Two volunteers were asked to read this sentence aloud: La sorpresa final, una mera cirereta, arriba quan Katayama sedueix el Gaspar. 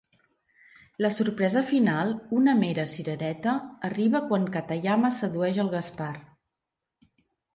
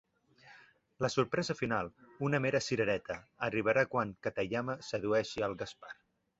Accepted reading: first